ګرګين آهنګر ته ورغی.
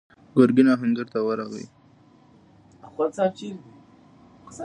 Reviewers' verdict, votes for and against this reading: accepted, 2, 1